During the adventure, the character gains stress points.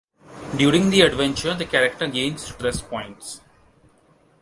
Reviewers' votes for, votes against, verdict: 2, 0, accepted